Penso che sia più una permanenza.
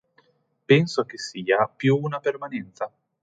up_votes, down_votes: 2, 1